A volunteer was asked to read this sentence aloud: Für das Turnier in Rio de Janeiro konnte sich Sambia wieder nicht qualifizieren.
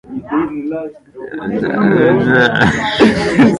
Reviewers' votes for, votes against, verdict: 0, 3, rejected